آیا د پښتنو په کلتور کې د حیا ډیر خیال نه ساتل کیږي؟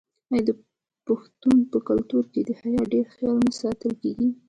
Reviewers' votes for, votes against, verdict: 0, 2, rejected